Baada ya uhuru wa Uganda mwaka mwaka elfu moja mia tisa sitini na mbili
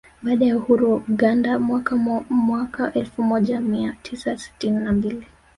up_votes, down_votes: 1, 2